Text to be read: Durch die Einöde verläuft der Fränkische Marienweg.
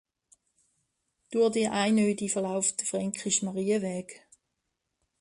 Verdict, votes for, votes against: rejected, 1, 2